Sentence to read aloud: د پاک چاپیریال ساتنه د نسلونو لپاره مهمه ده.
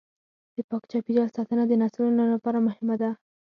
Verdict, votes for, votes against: rejected, 2, 4